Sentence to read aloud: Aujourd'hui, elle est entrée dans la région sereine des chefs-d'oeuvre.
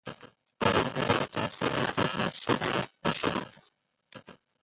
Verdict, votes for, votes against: rejected, 0, 2